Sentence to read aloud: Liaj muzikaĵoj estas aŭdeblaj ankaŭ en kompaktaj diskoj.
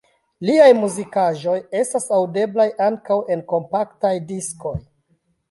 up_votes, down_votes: 2, 1